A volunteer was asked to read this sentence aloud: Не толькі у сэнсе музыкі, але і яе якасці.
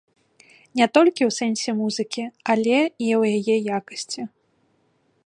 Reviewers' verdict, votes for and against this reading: rejected, 0, 2